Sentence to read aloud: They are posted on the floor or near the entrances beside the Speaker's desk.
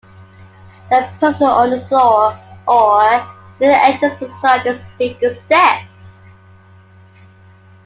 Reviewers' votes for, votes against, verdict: 0, 2, rejected